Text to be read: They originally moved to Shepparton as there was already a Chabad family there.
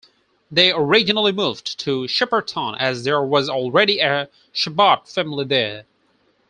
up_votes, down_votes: 2, 4